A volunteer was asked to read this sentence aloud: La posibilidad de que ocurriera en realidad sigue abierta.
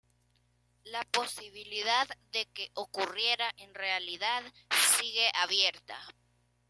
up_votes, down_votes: 2, 0